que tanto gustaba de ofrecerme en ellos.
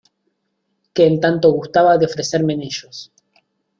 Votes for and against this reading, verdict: 1, 2, rejected